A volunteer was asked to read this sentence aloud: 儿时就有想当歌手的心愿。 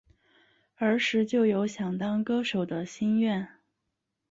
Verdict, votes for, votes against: accepted, 4, 1